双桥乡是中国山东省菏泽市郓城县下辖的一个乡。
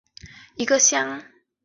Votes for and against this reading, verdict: 0, 3, rejected